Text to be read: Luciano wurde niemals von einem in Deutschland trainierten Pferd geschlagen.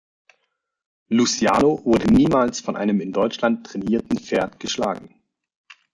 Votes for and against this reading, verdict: 1, 2, rejected